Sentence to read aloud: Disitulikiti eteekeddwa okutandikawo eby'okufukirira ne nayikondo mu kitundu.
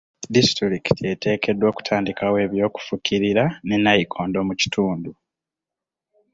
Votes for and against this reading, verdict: 2, 0, accepted